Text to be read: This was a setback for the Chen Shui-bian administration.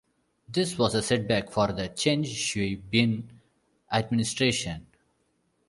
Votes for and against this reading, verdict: 0, 2, rejected